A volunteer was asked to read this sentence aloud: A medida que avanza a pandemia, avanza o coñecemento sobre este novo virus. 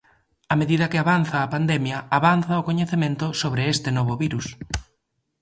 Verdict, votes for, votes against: accepted, 2, 0